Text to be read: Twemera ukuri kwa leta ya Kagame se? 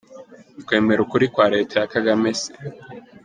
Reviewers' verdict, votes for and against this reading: rejected, 1, 2